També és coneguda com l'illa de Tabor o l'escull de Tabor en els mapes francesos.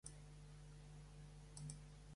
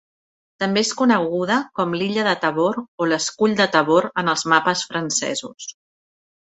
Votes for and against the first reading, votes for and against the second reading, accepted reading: 1, 2, 3, 0, second